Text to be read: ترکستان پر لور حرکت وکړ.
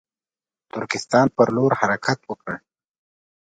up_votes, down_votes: 2, 0